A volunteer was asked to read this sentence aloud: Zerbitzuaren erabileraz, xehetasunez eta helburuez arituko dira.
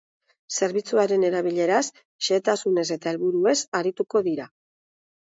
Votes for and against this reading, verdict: 2, 0, accepted